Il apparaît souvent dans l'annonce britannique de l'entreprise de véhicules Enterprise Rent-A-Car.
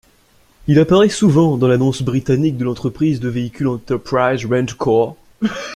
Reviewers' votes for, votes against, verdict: 0, 2, rejected